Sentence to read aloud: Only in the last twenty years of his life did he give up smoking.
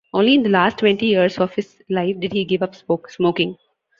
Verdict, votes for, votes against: rejected, 1, 2